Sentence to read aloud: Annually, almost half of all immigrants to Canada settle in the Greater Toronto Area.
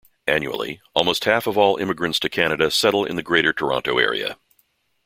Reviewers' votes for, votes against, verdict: 2, 0, accepted